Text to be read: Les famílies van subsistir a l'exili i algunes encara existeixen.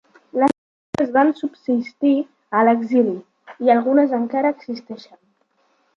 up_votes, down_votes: 0, 2